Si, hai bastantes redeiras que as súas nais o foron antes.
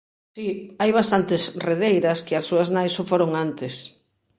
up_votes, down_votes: 2, 1